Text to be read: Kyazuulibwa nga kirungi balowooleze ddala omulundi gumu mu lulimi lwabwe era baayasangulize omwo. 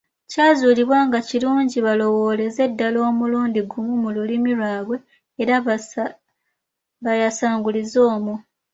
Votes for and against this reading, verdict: 1, 2, rejected